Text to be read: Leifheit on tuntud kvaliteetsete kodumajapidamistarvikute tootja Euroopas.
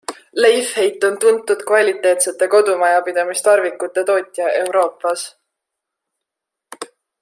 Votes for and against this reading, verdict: 2, 0, accepted